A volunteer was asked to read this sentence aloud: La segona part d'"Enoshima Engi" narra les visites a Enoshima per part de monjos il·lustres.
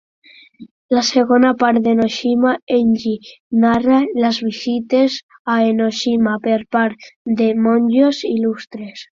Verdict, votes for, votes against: accepted, 3, 0